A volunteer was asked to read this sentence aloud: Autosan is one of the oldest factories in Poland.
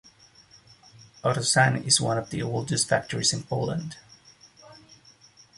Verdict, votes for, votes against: accepted, 2, 0